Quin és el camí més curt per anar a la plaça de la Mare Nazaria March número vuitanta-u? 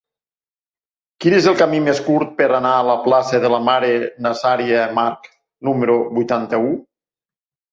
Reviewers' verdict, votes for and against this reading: accepted, 3, 0